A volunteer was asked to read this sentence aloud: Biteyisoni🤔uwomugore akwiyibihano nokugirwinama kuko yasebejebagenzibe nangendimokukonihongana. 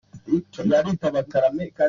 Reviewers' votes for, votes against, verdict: 0, 2, rejected